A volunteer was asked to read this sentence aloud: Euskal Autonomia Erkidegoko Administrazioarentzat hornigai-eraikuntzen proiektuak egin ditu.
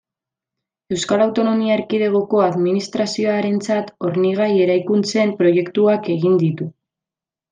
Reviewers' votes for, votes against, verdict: 2, 0, accepted